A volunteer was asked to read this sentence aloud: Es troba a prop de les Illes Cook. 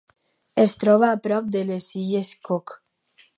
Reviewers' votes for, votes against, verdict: 4, 0, accepted